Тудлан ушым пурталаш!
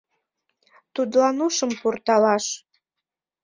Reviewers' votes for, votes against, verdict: 2, 0, accepted